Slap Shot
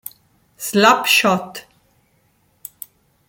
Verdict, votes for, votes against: accepted, 3, 0